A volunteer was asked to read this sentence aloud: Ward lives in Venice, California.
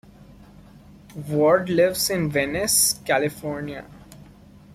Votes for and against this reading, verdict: 2, 0, accepted